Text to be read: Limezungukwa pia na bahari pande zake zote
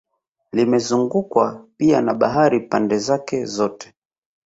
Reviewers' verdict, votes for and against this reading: accepted, 6, 0